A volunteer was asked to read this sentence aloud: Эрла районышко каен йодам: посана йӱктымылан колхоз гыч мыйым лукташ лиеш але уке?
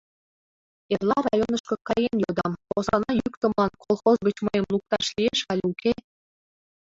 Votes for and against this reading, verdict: 2, 0, accepted